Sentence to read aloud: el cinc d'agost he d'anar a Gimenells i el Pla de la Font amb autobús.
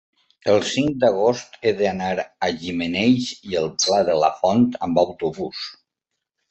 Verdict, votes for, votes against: accepted, 4, 0